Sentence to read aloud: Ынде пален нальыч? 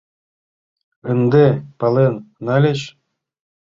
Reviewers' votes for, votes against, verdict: 3, 0, accepted